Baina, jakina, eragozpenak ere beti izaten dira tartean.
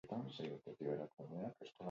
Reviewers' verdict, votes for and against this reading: rejected, 0, 4